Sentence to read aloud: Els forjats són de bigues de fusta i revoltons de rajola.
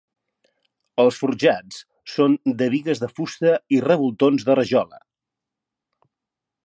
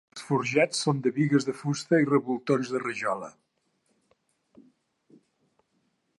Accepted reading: first